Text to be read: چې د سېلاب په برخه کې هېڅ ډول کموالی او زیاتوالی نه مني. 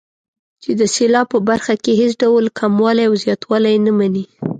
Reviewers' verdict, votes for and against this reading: accepted, 3, 0